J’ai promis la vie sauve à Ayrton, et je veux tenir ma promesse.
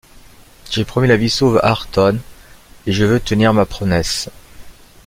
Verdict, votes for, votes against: rejected, 0, 2